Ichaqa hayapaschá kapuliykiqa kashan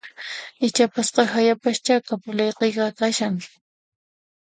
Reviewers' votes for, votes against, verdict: 1, 2, rejected